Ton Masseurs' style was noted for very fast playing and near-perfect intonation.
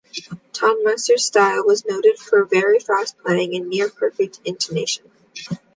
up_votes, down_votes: 2, 0